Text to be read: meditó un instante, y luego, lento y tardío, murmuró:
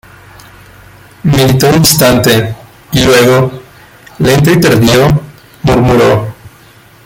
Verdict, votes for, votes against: accepted, 2, 0